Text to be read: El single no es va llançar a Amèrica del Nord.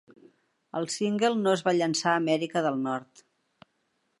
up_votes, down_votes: 3, 0